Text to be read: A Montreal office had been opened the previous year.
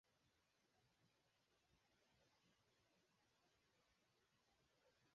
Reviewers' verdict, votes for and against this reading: rejected, 0, 4